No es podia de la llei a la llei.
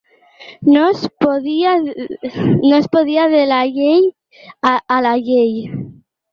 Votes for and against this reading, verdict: 0, 3, rejected